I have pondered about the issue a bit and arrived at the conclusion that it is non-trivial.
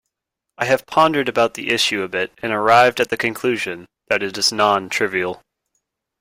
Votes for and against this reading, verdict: 2, 0, accepted